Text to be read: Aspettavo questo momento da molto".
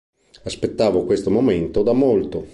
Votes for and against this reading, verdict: 2, 0, accepted